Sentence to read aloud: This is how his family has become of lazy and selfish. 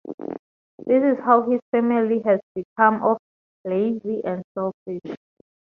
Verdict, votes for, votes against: rejected, 2, 2